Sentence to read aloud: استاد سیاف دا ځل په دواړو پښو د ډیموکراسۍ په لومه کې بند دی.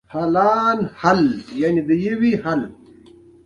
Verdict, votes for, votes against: rejected, 1, 2